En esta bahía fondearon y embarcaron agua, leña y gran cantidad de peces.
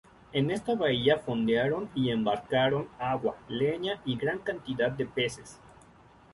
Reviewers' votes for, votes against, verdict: 2, 0, accepted